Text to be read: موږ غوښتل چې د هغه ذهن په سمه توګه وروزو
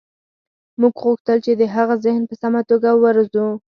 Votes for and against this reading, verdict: 4, 0, accepted